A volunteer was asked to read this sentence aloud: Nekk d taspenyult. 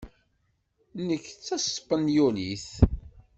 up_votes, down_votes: 1, 2